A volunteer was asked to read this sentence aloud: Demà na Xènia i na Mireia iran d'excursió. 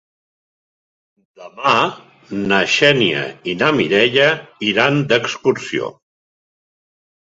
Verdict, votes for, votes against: accepted, 4, 0